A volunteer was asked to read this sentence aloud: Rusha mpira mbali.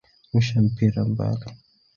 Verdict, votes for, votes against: rejected, 0, 2